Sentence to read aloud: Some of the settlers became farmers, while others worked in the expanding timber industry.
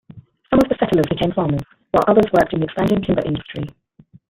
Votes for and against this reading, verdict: 1, 2, rejected